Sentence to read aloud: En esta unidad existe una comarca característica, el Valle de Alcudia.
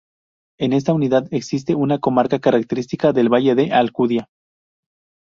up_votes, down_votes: 0, 4